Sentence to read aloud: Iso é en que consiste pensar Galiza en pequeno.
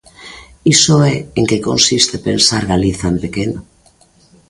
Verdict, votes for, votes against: accepted, 2, 0